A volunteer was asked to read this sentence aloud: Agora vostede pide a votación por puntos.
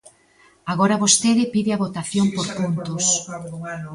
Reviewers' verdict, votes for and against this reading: accepted, 2, 1